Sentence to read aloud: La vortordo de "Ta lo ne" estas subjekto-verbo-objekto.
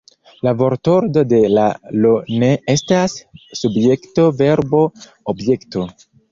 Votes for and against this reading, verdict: 0, 2, rejected